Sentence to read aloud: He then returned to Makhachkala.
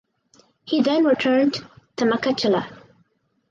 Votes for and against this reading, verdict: 0, 4, rejected